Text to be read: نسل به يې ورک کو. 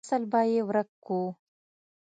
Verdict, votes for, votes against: accepted, 3, 0